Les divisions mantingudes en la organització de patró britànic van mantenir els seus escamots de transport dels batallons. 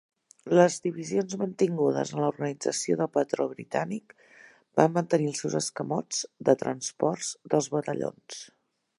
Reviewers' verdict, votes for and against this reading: rejected, 0, 2